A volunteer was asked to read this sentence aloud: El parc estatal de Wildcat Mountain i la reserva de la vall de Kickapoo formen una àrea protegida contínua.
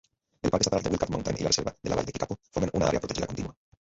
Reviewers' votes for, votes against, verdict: 0, 2, rejected